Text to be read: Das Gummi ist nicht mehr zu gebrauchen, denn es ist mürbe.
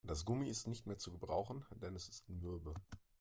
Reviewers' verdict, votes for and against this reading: accepted, 2, 0